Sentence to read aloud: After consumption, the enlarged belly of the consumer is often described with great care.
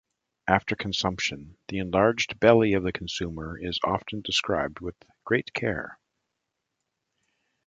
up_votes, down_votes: 2, 0